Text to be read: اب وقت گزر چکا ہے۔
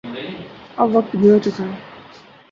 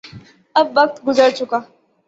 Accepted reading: second